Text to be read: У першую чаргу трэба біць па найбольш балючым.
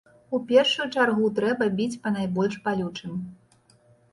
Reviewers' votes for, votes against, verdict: 2, 0, accepted